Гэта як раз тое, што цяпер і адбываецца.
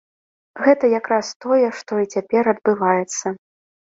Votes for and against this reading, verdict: 0, 2, rejected